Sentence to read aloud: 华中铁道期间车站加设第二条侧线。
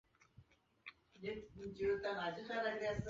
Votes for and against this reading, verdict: 0, 5, rejected